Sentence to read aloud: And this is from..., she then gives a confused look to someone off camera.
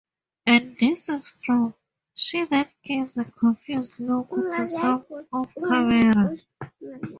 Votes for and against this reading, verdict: 0, 2, rejected